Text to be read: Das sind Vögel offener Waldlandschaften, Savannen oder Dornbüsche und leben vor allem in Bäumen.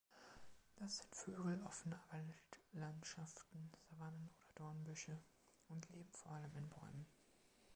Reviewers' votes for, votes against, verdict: 1, 2, rejected